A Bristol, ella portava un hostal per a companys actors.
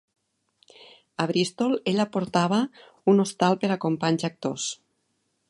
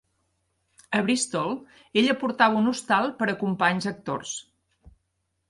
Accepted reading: first